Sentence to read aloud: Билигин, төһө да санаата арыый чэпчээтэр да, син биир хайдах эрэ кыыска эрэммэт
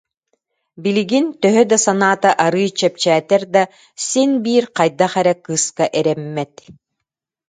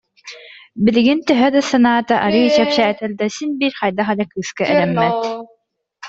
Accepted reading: first